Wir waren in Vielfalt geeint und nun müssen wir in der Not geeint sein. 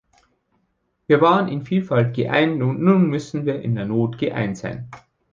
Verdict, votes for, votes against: accepted, 2, 0